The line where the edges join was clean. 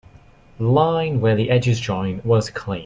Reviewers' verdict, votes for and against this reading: accepted, 2, 1